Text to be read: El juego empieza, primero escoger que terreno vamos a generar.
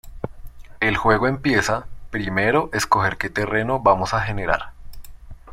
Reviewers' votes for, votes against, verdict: 2, 0, accepted